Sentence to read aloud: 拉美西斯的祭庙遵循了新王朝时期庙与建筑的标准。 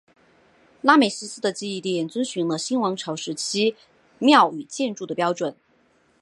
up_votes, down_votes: 6, 0